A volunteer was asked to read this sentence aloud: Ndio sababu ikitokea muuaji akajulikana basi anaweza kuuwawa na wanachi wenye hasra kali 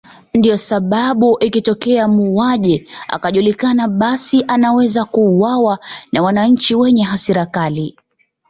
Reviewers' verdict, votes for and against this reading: accepted, 2, 0